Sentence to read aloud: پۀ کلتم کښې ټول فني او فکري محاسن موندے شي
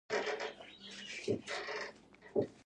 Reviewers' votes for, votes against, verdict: 1, 2, rejected